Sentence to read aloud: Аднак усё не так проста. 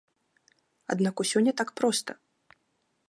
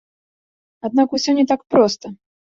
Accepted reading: first